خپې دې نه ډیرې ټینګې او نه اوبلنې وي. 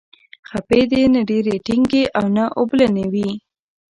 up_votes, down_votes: 2, 0